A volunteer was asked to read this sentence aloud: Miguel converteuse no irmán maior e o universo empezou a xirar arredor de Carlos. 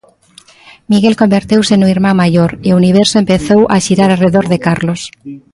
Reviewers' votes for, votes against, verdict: 1, 2, rejected